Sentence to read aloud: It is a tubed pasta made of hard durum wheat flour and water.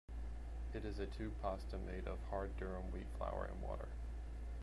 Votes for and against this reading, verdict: 1, 2, rejected